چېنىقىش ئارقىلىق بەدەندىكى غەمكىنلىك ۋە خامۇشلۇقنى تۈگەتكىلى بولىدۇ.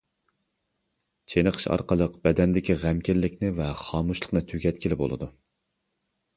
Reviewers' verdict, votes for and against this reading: rejected, 0, 2